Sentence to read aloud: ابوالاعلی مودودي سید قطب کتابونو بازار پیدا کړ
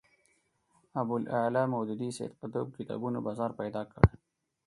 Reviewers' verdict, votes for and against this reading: accepted, 4, 0